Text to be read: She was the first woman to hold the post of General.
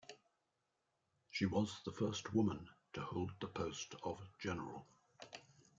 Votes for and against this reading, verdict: 2, 1, accepted